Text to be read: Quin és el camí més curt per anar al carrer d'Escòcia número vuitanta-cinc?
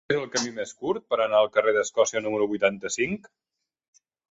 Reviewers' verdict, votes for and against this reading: rejected, 1, 2